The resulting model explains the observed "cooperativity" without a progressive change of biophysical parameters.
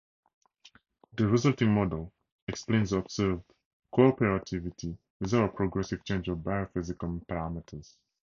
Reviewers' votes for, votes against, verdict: 2, 0, accepted